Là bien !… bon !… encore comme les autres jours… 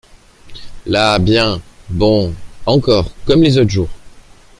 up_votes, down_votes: 2, 0